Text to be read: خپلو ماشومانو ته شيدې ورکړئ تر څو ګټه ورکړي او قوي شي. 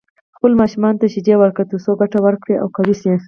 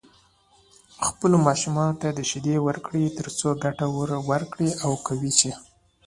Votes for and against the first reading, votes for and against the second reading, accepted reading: 2, 2, 2, 0, second